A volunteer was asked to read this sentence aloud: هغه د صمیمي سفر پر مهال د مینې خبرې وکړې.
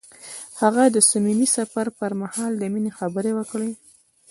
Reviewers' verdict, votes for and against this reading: rejected, 0, 2